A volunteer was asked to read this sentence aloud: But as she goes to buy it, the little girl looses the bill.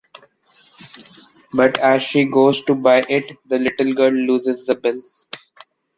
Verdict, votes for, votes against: accepted, 2, 0